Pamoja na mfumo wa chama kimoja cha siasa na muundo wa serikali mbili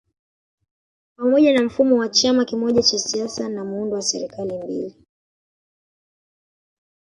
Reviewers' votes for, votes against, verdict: 2, 1, accepted